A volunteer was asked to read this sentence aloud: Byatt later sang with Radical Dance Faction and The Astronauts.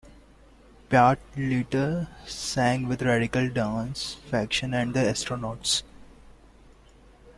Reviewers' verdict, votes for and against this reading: accepted, 2, 0